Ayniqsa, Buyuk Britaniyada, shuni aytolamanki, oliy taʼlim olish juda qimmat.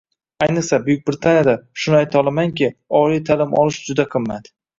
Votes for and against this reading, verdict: 2, 0, accepted